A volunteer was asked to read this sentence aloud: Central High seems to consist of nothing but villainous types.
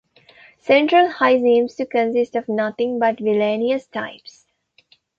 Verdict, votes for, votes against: rejected, 1, 2